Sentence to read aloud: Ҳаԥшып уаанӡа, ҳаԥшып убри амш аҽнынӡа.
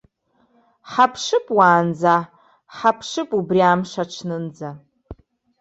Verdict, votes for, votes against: rejected, 1, 2